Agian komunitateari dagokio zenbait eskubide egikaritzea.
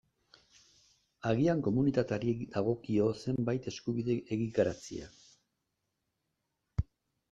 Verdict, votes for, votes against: accepted, 2, 0